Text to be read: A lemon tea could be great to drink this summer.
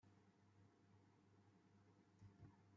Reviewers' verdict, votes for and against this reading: rejected, 1, 2